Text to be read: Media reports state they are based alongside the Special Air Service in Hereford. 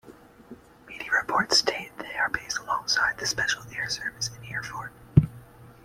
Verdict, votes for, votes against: accepted, 2, 1